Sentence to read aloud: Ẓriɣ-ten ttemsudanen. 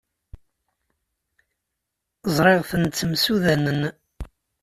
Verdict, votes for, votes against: accepted, 2, 0